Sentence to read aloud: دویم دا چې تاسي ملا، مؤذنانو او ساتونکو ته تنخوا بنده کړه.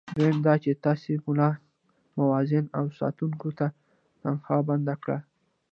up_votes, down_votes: 2, 0